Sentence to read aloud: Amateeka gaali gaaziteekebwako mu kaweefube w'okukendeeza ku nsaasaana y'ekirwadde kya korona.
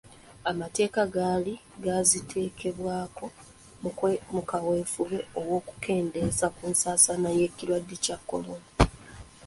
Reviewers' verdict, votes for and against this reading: accepted, 2, 1